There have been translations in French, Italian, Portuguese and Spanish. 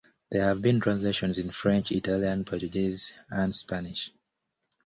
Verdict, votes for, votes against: accepted, 2, 0